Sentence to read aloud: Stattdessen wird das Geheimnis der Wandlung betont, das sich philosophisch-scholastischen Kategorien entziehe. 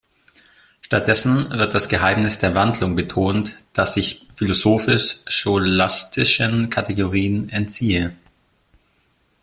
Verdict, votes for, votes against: rejected, 0, 2